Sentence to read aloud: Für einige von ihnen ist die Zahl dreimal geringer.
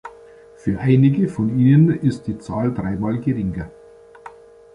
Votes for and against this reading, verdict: 1, 2, rejected